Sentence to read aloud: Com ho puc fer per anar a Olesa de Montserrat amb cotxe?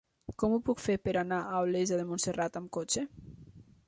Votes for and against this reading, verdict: 3, 0, accepted